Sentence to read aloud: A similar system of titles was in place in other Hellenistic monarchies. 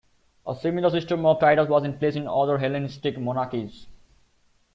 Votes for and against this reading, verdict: 2, 0, accepted